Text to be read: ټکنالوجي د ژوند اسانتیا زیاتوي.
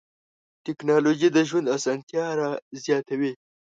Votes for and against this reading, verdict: 1, 2, rejected